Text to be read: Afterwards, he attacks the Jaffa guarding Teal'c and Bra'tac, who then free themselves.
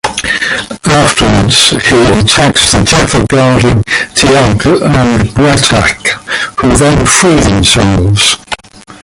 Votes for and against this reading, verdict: 0, 2, rejected